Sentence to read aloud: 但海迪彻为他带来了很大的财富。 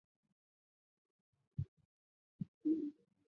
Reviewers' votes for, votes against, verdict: 1, 3, rejected